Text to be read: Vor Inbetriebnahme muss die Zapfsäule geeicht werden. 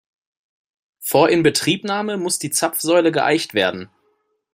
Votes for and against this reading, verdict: 2, 0, accepted